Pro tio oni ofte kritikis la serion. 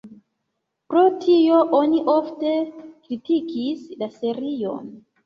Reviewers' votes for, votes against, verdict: 2, 0, accepted